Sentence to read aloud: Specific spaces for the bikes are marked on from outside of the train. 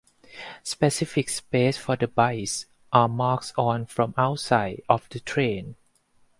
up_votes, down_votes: 2, 4